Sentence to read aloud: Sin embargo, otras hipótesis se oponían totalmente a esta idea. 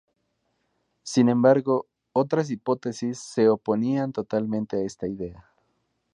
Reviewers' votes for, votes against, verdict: 2, 2, rejected